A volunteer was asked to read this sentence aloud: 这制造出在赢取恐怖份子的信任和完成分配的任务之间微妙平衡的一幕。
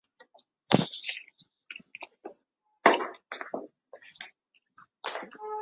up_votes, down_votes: 1, 4